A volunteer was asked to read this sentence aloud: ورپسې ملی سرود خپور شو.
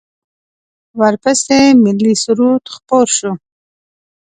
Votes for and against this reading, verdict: 2, 0, accepted